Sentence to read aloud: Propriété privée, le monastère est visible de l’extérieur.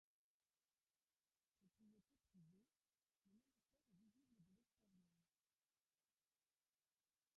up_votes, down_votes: 0, 2